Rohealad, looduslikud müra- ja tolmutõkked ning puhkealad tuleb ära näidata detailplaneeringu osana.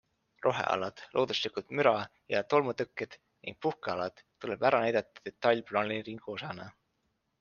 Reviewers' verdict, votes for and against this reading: accepted, 3, 0